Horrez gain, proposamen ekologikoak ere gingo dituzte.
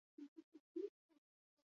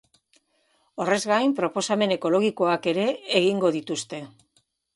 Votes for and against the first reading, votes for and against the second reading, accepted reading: 0, 4, 2, 0, second